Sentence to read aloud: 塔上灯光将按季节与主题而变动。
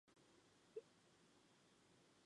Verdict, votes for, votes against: rejected, 0, 2